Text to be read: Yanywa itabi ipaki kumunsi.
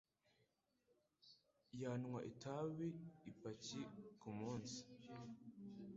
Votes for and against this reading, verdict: 0, 2, rejected